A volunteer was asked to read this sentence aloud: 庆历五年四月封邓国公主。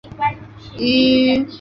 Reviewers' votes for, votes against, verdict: 0, 8, rejected